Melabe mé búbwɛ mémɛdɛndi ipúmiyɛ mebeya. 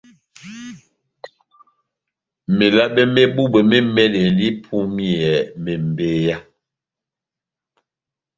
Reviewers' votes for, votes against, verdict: 0, 2, rejected